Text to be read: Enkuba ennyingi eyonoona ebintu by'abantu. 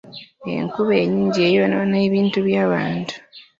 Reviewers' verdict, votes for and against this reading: accepted, 2, 0